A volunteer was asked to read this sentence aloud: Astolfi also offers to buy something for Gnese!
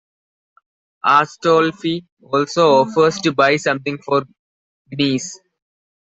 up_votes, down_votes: 1, 2